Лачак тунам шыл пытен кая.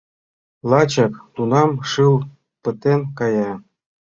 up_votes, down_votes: 2, 0